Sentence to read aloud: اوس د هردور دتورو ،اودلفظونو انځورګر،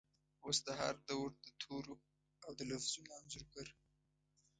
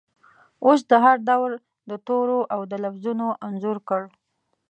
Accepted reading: first